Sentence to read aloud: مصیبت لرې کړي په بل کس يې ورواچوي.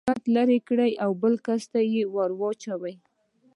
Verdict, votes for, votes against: rejected, 1, 2